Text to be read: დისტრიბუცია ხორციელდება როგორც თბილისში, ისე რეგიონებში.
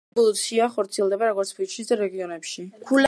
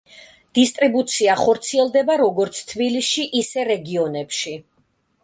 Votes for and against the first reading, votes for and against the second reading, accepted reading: 0, 2, 2, 0, second